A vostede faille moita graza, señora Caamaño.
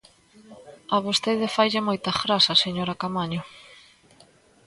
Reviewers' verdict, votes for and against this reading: accepted, 3, 0